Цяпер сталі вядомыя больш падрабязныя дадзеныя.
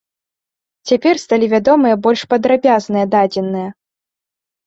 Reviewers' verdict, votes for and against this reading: accepted, 3, 0